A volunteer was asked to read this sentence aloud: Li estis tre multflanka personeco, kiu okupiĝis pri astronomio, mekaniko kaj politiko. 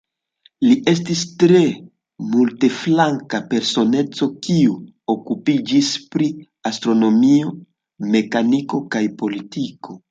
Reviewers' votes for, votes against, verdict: 1, 2, rejected